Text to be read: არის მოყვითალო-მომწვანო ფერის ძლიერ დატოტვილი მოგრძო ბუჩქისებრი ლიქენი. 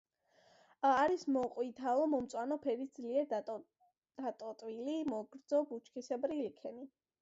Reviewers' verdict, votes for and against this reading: accepted, 2, 0